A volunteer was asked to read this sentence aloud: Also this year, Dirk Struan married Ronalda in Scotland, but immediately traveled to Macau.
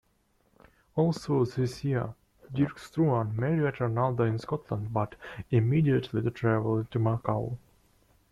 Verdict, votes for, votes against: rejected, 0, 2